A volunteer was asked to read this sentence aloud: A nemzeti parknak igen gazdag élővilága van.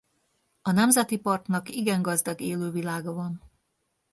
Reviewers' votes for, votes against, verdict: 2, 0, accepted